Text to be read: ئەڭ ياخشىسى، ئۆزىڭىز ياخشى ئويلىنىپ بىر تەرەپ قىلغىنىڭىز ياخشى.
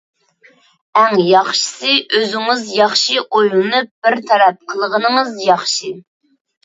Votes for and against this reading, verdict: 2, 0, accepted